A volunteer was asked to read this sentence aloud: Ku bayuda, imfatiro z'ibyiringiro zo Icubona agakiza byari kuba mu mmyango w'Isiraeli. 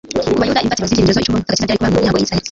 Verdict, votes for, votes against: rejected, 1, 2